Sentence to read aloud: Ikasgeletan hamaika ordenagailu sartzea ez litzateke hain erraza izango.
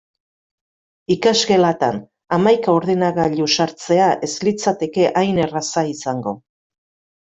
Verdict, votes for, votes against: rejected, 1, 2